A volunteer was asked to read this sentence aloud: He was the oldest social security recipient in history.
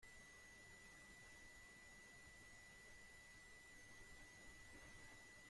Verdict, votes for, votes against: rejected, 0, 2